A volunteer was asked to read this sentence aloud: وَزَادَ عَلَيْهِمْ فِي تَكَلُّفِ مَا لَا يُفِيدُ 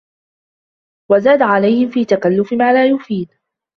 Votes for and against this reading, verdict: 1, 2, rejected